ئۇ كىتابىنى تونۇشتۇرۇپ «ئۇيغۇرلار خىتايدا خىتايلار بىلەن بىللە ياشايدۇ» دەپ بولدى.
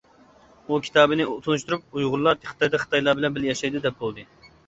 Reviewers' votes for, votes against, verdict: 0, 2, rejected